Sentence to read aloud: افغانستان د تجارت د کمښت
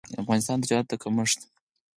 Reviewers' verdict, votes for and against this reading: accepted, 4, 0